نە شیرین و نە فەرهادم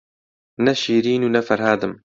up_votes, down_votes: 2, 0